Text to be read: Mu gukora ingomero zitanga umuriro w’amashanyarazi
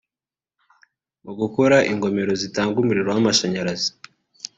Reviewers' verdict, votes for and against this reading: accepted, 2, 0